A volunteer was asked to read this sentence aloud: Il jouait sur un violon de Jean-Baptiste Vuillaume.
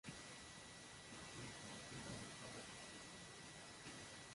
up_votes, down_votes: 1, 2